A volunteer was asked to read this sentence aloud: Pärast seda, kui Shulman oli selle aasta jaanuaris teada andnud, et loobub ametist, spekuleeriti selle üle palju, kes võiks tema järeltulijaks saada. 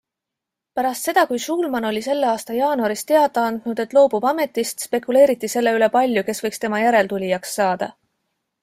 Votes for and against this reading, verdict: 2, 0, accepted